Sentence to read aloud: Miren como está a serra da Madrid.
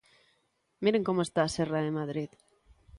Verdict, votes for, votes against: rejected, 1, 2